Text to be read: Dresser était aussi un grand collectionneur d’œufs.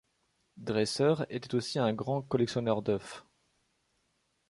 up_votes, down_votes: 0, 2